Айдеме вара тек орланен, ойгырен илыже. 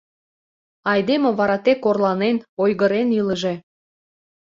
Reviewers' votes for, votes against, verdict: 2, 0, accepted